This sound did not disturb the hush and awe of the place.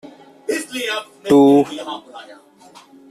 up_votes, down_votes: 0, 2